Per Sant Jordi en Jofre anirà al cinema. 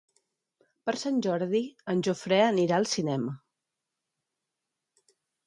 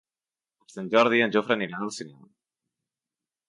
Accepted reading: first